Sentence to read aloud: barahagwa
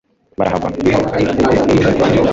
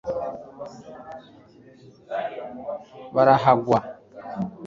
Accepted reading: second